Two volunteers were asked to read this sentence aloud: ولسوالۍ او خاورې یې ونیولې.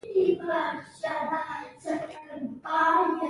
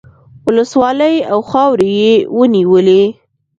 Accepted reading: second